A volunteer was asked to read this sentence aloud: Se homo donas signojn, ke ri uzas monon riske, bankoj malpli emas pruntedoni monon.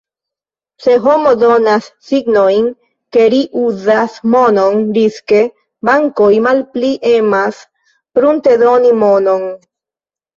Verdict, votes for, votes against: accepted, 3, 0